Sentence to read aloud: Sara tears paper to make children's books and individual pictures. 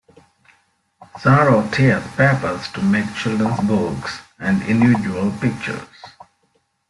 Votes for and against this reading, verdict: 0, 2, rejected